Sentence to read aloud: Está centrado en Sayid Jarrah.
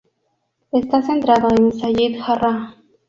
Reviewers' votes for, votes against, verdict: 0, 2, rejected